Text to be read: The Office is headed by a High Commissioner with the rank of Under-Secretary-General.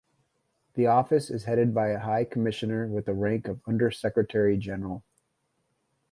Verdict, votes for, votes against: accepted, 2, 0